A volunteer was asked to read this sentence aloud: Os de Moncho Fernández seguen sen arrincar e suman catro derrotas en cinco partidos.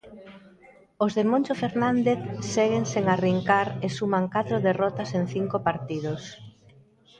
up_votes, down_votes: 1, 2